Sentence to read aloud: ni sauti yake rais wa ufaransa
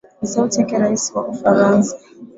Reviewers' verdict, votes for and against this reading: rejected, 1, 2